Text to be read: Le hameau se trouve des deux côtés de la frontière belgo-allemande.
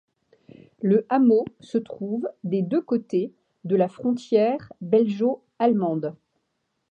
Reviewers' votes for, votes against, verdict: 1, 2, rejected